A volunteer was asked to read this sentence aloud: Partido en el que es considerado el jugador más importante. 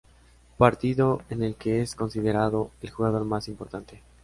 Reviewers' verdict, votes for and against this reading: accepted, 3, 0